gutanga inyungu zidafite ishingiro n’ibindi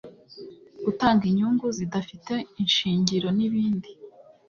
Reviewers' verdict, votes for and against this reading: accepted, 2, 0